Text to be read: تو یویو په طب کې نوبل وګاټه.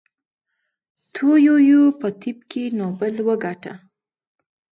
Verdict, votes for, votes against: accepted, 2, 0